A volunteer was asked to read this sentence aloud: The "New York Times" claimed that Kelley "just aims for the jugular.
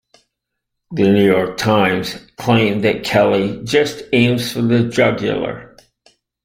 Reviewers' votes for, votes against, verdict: 2, 0, accepted